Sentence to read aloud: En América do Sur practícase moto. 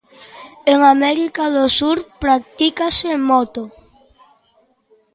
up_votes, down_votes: 2, 0